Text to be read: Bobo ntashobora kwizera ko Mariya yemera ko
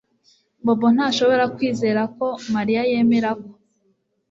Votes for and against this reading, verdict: 2, 0, accepted